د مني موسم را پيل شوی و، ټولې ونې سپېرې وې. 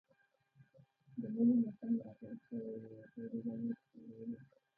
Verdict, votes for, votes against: rejected, 1, 2